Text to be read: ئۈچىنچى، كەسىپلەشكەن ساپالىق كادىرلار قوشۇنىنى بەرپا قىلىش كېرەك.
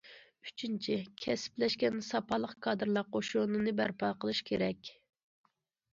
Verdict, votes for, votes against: accepted, 2, 0